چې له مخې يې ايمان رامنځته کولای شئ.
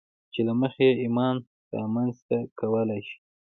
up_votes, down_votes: 2, 0